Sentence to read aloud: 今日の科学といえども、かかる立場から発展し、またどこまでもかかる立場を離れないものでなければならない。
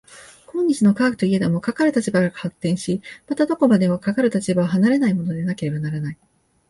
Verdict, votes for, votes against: rejected, 1, 2